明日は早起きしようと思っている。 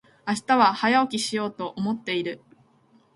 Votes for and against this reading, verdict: 2, 0, accepted